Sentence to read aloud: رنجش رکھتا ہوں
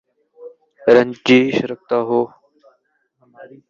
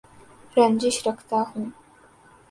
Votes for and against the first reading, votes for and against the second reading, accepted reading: 1, 2, 2, 0, second